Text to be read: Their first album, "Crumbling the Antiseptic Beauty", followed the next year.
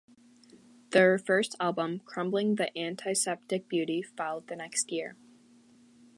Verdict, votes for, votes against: accepted, 2, 0